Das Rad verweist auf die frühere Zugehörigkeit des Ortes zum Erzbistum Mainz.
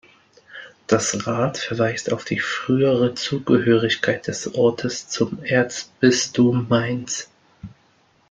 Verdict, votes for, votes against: accepted, 2, 0